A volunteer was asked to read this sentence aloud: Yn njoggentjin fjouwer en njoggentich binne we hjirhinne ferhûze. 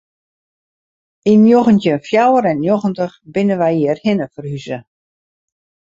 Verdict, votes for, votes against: rejected, 0, 2